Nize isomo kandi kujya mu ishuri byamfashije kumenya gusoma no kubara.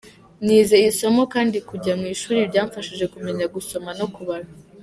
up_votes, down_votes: 2, 0